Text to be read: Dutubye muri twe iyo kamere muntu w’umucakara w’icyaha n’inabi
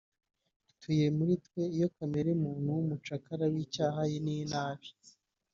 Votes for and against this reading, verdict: 1, 2, rejected